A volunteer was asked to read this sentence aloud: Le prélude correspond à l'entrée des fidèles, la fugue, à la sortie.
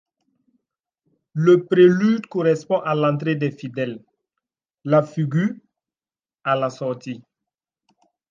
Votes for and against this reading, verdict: 0, 2, rejected